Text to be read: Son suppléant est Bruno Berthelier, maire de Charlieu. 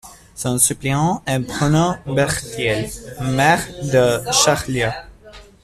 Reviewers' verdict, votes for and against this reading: accepted, 2, 0